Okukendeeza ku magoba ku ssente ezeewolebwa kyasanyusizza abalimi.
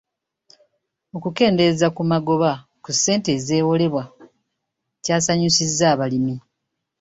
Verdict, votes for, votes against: accepted, 2, 0